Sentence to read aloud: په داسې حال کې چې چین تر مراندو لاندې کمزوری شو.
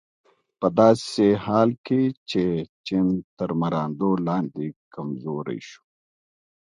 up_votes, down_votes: 2, 1